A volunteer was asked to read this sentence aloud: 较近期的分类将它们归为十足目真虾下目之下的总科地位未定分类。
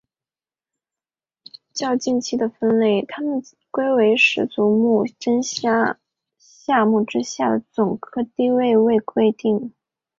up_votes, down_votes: 0, 2